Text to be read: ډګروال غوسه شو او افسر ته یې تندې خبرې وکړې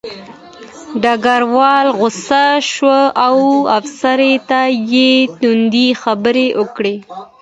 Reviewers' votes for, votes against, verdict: 2, 1, accepted